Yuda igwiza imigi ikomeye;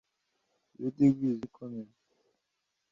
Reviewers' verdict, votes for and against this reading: rejected, 1, 2